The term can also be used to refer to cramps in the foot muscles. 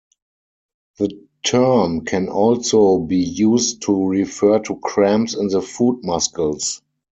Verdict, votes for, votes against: rejected, 0, 4